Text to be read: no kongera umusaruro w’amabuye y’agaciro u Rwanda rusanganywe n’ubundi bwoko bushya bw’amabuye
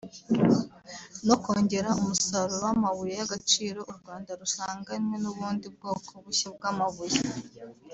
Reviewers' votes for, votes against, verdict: 2, 0, accepted